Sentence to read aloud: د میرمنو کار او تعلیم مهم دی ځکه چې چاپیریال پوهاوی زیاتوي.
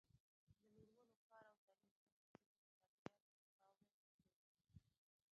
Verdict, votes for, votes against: rejected, 0, 2